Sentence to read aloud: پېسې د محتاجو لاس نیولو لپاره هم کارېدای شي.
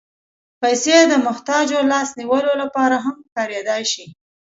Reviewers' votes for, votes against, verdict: 2, 0, accepted